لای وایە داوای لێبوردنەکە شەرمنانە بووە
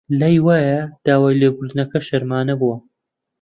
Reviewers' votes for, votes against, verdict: 0, 2, rejected